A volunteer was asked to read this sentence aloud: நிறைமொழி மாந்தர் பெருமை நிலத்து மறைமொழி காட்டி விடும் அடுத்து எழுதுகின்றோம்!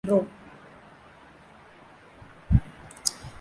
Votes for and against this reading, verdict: 0, 2, rejected